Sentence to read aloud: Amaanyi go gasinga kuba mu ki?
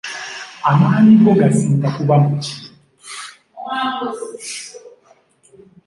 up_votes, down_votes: 2, 0